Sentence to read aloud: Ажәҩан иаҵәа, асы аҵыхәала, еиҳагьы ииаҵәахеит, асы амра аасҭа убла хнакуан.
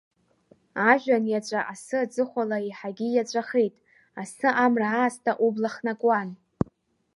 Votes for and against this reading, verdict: 1, 2, rejected